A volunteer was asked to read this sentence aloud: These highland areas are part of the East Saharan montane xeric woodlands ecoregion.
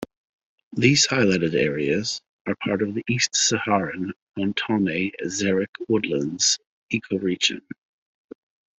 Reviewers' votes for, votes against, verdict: 0, 2, rejected